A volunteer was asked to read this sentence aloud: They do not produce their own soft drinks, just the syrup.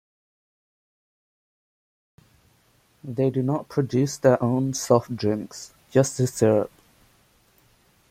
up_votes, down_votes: 2, 1